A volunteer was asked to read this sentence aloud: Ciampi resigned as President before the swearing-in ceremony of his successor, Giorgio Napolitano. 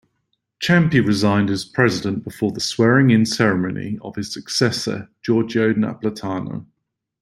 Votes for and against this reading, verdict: 1, 2, rejected